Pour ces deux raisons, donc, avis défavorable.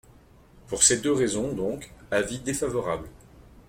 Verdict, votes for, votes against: accepted, 2, 0